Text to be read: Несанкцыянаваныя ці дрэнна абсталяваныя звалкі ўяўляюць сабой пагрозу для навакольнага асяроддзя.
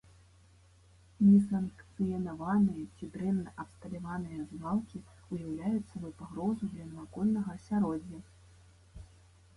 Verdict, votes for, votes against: rejected, 1, 2